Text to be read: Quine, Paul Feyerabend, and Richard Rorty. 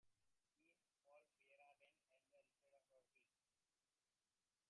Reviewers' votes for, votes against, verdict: 1, 2, rejected